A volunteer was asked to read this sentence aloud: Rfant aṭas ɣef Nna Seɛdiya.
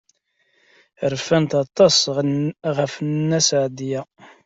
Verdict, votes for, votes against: accepted, 2, 1